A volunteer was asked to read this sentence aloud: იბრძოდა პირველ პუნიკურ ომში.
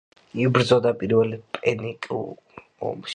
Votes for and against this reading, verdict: 0, 2, rejected